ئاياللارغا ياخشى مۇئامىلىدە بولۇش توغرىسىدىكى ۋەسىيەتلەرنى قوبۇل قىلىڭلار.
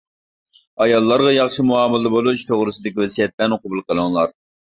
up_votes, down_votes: 0, 2